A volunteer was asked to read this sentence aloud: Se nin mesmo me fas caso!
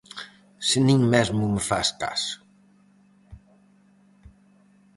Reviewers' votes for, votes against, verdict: 4, 0, accepted